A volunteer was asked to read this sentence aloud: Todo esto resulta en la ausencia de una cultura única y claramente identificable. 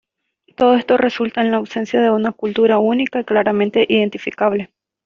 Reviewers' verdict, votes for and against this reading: accepted, 2, 0